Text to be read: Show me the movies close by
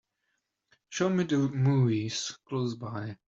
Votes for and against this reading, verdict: 1, 2, rejected